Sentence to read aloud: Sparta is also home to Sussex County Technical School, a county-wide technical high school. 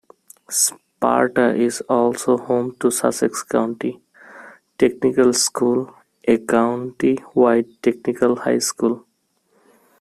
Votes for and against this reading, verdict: 1, 2, rejected